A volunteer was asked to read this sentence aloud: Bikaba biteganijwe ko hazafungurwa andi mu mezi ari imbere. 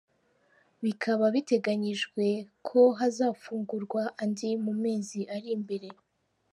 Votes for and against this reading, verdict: 2, 1, accepted